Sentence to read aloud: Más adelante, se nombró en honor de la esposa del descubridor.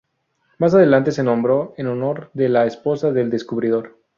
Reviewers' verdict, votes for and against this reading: accepted, 2, 0